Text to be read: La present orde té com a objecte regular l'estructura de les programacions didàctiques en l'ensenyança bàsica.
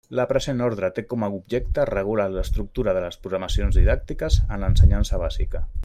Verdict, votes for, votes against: rejected, 1, 2